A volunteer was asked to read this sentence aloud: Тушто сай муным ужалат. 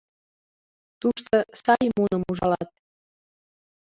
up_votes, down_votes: 2, 1